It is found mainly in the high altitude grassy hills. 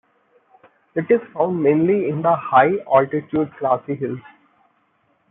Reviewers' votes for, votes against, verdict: 2, 0, accepted